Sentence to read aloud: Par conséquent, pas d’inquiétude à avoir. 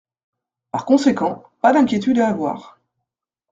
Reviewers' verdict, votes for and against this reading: accepted, 2, 0